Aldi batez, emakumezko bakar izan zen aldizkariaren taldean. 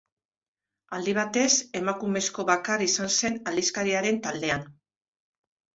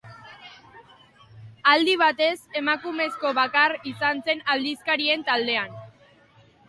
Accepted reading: first